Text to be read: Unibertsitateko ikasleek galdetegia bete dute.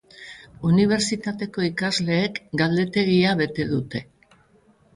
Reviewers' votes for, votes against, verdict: 2, 0, accepted